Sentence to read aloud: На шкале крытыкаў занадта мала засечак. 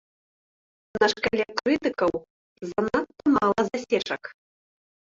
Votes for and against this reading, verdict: 0, 2, rejected